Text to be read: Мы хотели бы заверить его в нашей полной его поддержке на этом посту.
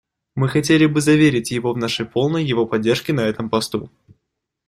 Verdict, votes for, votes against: accepted, 2, 0